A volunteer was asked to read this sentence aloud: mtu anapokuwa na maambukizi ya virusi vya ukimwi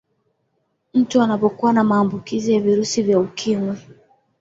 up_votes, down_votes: 2, 0